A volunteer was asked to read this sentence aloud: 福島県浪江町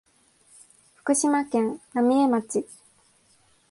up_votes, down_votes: 2, 0